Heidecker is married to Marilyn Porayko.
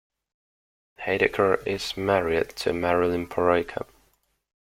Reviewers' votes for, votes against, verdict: 2, 0, accepted